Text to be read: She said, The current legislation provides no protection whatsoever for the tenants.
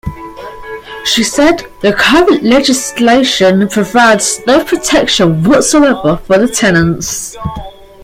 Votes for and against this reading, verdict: 2, 0, accepted